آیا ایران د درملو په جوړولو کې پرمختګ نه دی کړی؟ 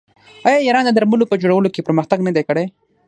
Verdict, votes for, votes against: rejected, 0, 6